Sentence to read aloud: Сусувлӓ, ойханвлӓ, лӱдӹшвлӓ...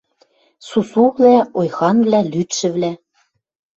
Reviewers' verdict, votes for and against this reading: rejected, 0, 2